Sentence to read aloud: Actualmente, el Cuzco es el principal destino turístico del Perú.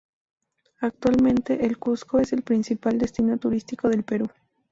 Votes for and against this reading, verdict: 0, 2, rejected